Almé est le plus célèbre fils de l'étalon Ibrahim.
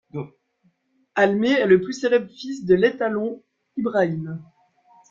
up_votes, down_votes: 2, 3